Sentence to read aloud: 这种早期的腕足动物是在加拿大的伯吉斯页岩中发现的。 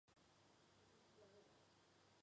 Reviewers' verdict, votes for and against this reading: rejected, 0, 2